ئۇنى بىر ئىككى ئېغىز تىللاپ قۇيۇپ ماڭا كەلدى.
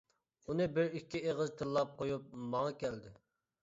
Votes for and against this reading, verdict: 2, 0, accepted